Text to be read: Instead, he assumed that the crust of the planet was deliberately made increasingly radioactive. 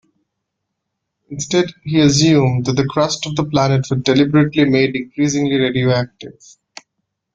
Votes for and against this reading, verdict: 2, 0, accepted